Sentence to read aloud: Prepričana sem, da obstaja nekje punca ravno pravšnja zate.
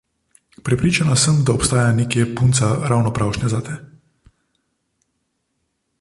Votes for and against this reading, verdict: 2, 0, accepted